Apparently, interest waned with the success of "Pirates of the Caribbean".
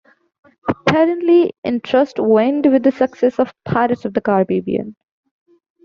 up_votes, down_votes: 1, 2